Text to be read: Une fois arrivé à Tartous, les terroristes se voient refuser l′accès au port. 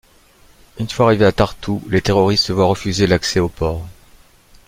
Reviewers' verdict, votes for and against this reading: accepted, 3, 0